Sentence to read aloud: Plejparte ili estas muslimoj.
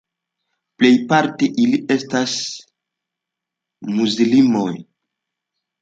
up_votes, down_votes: 1, 2